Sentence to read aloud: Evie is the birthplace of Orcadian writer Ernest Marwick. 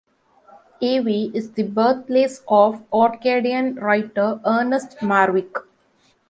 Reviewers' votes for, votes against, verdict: 2, 0, accepted